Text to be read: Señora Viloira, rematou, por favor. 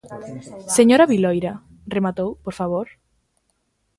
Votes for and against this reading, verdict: 2, 1, accepted